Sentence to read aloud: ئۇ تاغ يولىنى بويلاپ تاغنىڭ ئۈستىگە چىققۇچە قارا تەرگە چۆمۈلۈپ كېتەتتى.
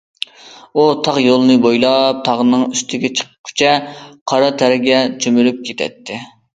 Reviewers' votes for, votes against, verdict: 2, 0, accepted